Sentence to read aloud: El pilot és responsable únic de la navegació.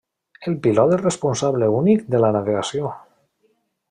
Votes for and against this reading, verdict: 1, 2, rejected